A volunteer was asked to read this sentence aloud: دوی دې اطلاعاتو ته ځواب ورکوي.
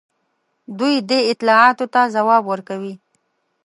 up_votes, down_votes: 3, 0